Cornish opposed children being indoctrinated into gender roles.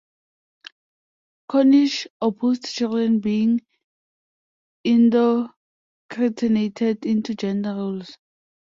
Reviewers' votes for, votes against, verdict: 0, 2, rejected